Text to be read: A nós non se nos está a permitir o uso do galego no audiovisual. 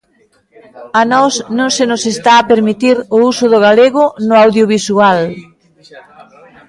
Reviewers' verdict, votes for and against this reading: rejected, 1, 2